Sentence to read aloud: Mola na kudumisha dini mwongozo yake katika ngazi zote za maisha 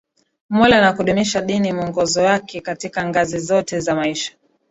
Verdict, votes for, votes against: accepted, 2, 0